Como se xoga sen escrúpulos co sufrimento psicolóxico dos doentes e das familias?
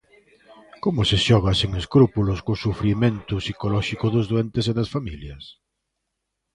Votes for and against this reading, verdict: 2, 1, accepted